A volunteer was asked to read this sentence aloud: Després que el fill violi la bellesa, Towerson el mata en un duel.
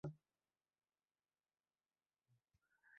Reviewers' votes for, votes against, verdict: 0, 2, rejected